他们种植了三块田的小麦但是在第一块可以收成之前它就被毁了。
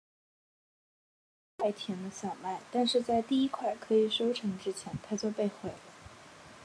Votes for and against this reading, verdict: 1, 3, rejected